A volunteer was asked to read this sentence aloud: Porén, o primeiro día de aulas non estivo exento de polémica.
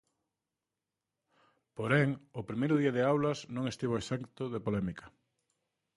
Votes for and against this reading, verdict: 1, 2, rejected